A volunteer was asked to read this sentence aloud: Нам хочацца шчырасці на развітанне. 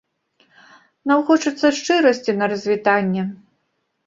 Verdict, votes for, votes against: accepted, 2, 1